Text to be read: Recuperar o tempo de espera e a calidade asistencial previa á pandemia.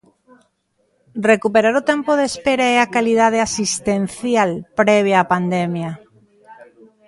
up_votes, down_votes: 2, 0